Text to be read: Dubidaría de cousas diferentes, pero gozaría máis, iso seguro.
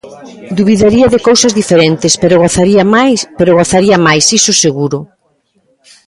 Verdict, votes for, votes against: rejected, 0, 2